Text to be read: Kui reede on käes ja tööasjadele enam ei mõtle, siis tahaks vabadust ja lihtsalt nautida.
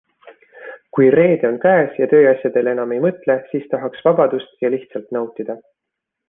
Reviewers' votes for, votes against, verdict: 2, 0, accepted